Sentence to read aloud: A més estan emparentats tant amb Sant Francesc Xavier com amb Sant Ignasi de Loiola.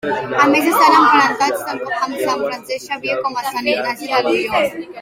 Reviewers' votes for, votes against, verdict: 1, 2, rejected